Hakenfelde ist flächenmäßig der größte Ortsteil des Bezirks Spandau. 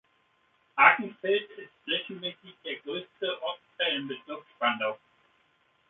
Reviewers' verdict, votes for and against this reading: rejected, 0, 2